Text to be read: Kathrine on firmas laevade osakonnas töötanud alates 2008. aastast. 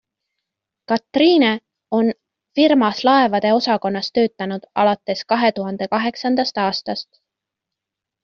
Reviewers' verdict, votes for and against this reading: rejected, 0, 2